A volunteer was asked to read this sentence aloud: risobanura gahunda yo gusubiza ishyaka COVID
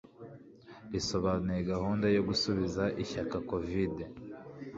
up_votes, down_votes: 2, 0